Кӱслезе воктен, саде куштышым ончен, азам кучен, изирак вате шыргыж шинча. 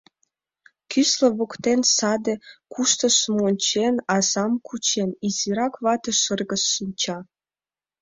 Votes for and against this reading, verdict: 0, 2, rejected